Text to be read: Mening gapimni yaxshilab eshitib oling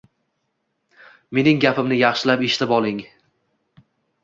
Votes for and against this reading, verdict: 2, 0, accepted